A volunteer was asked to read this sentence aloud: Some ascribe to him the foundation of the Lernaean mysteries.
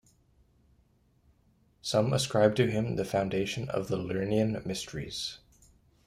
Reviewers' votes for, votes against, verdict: 3, 0, accepted